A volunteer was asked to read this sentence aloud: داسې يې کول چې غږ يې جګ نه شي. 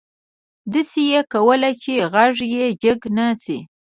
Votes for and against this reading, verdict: 0, 2, rejected